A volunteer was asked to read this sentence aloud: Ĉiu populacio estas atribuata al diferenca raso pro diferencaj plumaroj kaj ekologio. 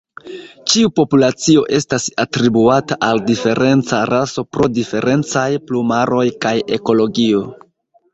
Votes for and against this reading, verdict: 2, 1, accepted